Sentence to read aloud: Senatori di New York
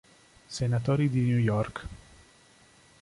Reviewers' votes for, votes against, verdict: 2, 0, accepted